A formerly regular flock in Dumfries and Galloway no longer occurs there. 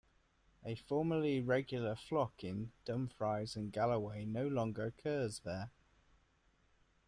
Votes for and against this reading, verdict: 1, 2, rejected